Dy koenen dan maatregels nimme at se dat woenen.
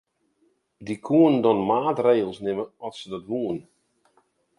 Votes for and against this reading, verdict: 2, 0, accepted